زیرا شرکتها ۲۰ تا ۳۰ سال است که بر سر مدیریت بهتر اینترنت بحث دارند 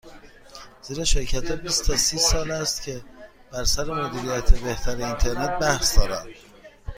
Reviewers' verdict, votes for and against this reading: rejected, 0, 2